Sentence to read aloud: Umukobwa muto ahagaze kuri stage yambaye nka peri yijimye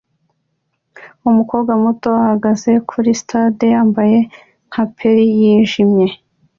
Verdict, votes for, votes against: accepted, 2, 0